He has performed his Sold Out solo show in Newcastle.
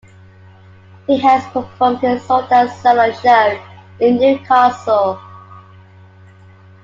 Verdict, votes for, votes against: accepted, 3, 0